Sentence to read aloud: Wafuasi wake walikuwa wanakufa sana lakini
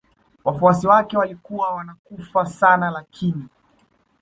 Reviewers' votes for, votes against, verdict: 2, 0, accepted